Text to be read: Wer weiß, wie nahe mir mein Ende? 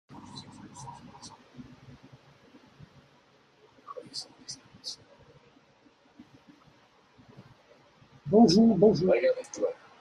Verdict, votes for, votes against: rejected, 0, 2